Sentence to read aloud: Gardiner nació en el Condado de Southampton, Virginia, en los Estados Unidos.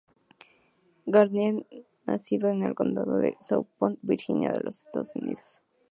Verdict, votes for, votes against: accepted, 2, 0